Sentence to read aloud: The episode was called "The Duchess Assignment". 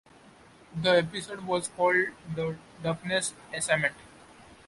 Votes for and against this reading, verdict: 0, 2, rejected